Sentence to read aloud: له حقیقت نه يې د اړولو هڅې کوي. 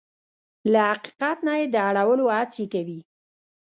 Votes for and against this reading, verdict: 0, 3, rejected